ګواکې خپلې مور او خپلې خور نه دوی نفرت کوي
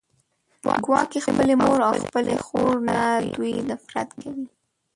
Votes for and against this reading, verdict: 0, 2, rejected